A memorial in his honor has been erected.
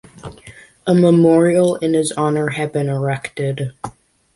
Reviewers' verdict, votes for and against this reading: rejected, 1, 2